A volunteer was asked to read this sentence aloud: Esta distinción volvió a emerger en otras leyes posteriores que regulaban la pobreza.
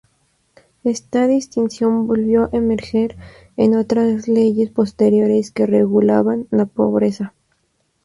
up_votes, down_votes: 0, 2